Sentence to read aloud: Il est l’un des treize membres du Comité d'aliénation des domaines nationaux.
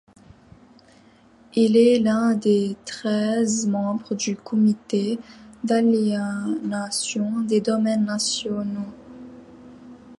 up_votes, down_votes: 0, 2